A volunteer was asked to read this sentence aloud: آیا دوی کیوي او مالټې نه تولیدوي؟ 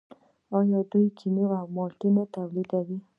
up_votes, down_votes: 2, 1